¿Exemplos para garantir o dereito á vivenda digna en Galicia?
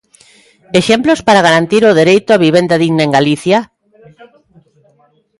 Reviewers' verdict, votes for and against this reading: accepted, 2, 0